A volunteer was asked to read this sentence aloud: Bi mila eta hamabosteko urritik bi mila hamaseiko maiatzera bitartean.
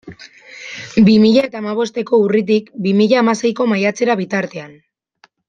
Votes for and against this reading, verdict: 2, 0, accepted